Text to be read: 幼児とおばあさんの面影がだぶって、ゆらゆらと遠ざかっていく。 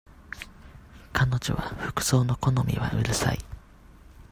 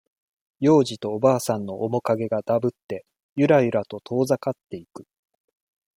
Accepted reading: second